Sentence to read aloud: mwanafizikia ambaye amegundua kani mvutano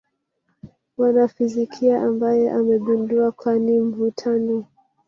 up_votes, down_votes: 1, 2